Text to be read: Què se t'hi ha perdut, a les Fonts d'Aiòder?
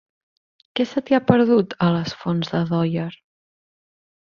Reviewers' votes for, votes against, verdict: 3, 0, accepted